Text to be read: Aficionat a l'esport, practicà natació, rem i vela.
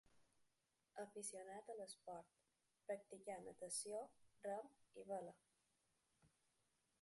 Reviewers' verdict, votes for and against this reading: rejected, 1, 2